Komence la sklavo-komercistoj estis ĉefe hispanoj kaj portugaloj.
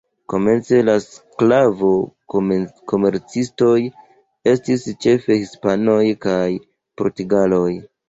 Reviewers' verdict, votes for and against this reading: rejected, 0, 2